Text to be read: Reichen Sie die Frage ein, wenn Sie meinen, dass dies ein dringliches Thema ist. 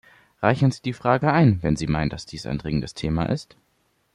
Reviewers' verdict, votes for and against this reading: rejected, 0, 2